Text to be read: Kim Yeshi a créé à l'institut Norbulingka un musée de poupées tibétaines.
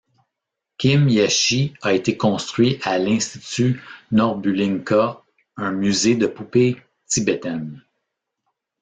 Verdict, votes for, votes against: rejected, 1, 2